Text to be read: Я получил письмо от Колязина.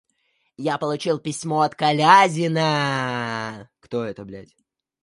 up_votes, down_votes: 0, 2